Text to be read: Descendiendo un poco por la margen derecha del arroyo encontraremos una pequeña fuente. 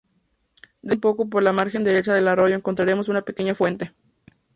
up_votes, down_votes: 2, 2